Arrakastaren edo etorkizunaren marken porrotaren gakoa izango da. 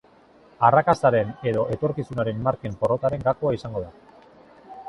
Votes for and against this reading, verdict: 2, 0, accepted